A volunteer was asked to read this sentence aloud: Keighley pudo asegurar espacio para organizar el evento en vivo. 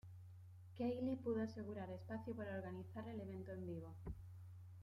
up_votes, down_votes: 0, 2